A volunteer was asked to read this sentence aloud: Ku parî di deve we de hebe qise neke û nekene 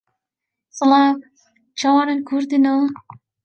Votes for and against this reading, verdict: 0, 2, rejected